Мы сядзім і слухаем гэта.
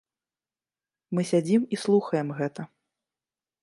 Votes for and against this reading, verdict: 2, 0, accepted